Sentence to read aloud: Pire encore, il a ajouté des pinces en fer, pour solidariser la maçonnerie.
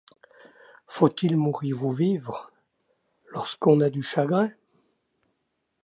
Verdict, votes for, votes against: rejected, 1, 2